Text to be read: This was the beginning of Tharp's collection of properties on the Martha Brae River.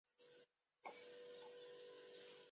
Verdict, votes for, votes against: rejected, 0, 2